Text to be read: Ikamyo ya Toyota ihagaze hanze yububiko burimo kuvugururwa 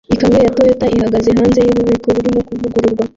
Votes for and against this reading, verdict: 1, 2, rejected